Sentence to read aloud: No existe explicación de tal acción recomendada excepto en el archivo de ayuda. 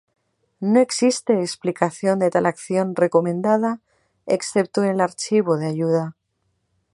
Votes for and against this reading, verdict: 2, 4, rejected